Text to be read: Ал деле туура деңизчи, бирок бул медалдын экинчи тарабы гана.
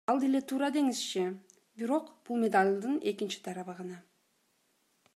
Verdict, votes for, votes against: accepted, 2, 0